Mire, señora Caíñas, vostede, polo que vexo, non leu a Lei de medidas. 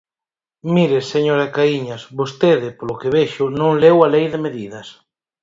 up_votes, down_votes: 4, 0